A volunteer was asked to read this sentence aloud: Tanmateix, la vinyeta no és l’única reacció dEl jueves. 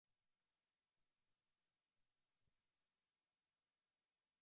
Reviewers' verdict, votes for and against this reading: rejected, 0, 2